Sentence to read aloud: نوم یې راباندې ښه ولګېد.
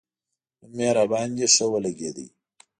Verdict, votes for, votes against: rejected, 1, 2